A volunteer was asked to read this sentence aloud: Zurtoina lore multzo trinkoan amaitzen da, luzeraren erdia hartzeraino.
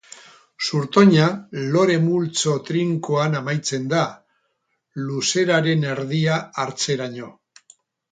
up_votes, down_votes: 4, 0